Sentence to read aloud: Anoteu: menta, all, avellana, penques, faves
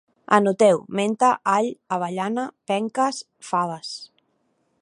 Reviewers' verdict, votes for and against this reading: accepted, 2, 0